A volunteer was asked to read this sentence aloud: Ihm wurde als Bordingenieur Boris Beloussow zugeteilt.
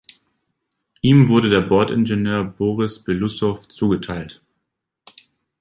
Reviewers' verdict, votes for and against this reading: rejected, 1, 2